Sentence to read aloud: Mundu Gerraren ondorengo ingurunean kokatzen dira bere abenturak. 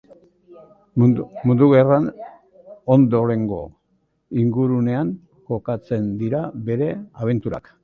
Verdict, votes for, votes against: rejected, 0, 2